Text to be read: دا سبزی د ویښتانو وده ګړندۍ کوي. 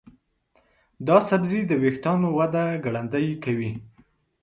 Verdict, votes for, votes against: accepted, 2, 0